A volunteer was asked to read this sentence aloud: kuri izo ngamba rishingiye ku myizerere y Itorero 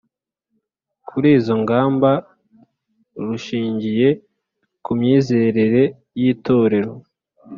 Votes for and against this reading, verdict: 2, 1, accepted